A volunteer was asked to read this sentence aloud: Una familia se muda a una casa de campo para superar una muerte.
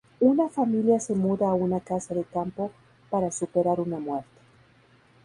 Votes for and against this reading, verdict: 2, 2, rejected